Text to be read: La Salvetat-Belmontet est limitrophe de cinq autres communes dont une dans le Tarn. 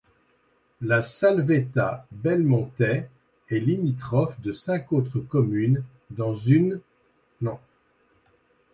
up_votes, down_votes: 1, 2